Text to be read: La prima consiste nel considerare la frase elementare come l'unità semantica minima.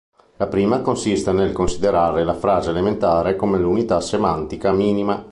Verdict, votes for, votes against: accepted, 2, 0